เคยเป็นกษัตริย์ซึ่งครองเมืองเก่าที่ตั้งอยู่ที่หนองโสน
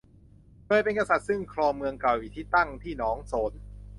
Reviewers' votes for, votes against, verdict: 0, 2, rejected